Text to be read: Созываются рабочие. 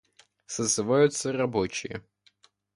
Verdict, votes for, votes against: accepted, 2, 0